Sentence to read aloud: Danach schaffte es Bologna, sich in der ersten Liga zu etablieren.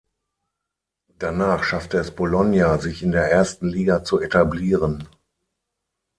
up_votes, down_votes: 0, 6